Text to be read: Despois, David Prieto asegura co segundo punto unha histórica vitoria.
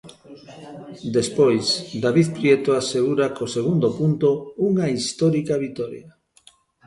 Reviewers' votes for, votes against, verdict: 0, 3, rejected